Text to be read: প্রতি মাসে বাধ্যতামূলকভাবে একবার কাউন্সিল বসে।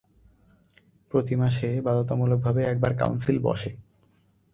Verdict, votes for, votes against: accepted, 3, 0